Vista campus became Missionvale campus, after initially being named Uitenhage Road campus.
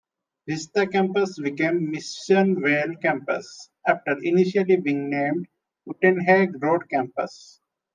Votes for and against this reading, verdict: 2, 0, accepted